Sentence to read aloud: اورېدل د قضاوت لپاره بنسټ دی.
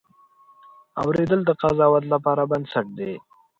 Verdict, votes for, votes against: accepted, 2, 0